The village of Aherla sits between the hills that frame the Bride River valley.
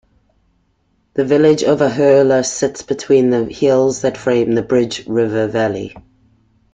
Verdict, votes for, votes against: rejected, 0, 2